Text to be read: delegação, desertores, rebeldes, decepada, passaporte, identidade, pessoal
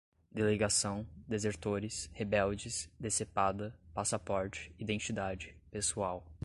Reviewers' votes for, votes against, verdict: 2, 0, accepted